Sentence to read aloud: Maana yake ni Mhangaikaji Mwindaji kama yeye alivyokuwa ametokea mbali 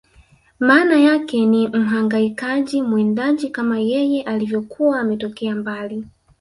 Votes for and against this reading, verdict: 2, 0, accepted